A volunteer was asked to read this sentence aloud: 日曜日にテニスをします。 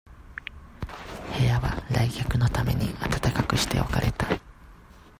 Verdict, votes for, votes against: rejected, 0, 2